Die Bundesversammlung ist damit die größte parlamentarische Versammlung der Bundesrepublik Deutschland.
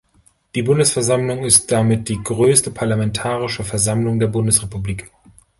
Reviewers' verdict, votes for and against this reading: rejected, 1, 2